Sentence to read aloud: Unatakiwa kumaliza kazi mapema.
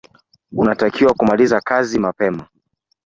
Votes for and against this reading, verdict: 3, 0, accepted